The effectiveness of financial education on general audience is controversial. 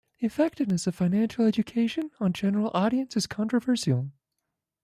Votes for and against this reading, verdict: 0, 2, rejected